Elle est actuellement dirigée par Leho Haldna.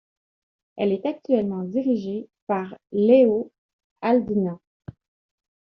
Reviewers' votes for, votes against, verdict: 2, 0, accepted